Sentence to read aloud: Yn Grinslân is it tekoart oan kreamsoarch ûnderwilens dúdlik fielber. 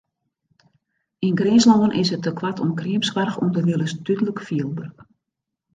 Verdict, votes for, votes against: accepted, 2, 0